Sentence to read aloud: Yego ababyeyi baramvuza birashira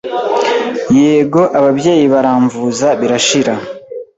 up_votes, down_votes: 2, 0